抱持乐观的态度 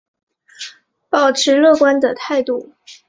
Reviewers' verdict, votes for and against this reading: accepted, 3, 1